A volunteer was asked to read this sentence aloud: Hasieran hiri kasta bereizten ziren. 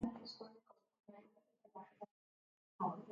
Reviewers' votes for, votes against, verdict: 0, 2, rejected